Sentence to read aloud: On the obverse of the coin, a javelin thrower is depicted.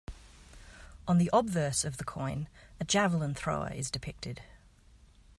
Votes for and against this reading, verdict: 2, 0, accepted